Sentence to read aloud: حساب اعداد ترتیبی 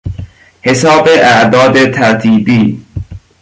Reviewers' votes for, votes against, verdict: 2, 0, accepted